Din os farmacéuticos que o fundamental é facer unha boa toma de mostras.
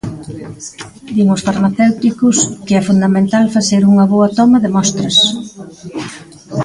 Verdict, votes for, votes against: rejected, 1, 2